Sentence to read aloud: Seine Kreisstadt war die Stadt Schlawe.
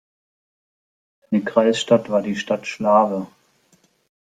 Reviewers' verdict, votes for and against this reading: rejected, 0, 2